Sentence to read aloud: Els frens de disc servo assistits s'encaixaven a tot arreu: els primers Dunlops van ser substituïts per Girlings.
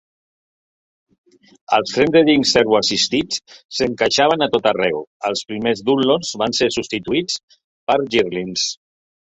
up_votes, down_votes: 1, 2